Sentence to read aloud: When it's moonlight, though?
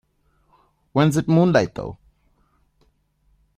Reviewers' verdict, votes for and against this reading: rejected, 0, 2